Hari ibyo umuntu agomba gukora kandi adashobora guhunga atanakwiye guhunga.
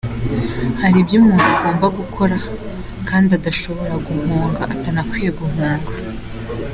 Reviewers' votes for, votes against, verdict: 3, 1, accepted